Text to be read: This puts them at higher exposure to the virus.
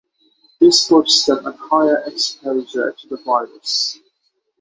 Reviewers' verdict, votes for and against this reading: accepted, 3, 0